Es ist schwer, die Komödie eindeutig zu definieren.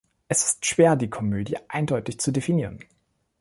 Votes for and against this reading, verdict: 2, 0, accepted